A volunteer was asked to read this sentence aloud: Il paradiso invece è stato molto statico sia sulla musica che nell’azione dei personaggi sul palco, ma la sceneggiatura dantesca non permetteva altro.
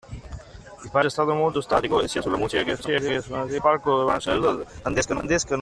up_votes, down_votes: 0, 2